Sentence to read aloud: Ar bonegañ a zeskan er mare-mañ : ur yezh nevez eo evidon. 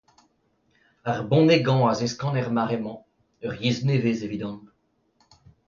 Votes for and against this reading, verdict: 2, 0, accepted